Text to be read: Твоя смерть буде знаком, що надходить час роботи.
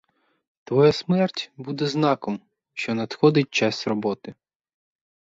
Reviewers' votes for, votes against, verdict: 4, 0, accepted